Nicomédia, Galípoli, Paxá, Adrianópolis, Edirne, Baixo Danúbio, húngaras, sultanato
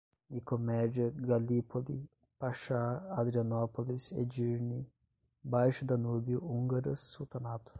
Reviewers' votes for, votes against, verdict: 0, 5, rejected